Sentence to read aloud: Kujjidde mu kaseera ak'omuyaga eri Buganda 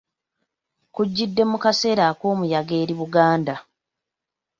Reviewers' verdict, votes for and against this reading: accepted, 2, 0